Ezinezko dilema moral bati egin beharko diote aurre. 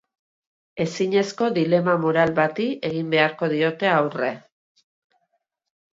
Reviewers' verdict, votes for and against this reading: accepted, 2, 0